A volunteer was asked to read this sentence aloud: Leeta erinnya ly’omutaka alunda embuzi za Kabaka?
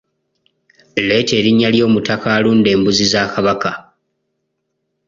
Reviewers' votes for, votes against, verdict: 0, 2, rejected